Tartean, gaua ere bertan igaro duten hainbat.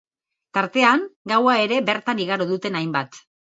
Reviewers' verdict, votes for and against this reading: accepted, 4, 0